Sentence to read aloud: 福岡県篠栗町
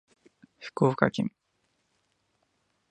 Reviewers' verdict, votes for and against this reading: rejected, 0, 2